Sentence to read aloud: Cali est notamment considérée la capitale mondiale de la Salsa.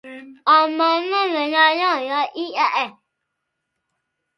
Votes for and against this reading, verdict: 0, 2, rejected